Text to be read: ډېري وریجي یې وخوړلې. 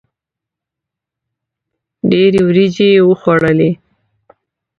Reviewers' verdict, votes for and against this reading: accepted, 2, 0